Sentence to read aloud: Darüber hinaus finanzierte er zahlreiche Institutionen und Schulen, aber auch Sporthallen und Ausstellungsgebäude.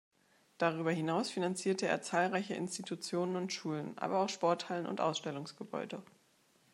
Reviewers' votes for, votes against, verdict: 2, 0, accepted